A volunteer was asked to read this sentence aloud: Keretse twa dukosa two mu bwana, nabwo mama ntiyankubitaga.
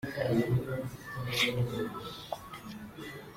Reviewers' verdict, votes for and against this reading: rejected, 0, 2